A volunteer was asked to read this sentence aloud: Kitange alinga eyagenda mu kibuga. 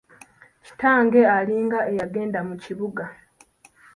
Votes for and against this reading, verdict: 2, 0, accepted